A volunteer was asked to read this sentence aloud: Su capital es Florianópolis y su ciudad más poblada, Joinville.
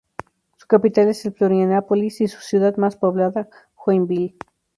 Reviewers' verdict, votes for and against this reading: rejected, 0, 2